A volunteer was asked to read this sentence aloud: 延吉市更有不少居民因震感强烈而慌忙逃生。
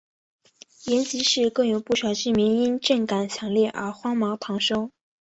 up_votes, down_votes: 2, 0